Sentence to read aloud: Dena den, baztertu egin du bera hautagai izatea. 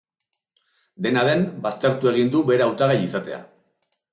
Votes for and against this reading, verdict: 3, 0, accepted